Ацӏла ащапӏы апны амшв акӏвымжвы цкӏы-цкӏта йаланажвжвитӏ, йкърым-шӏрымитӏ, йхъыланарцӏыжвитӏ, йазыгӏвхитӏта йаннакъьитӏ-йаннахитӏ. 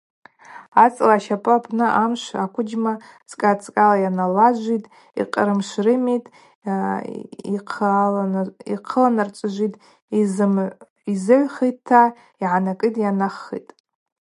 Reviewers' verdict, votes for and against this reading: rejected, 0, 2